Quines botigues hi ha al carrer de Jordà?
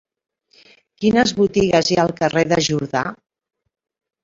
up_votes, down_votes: 3, 0